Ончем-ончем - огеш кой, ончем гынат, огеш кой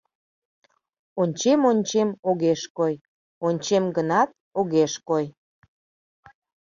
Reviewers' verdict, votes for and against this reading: accepted, 2, 0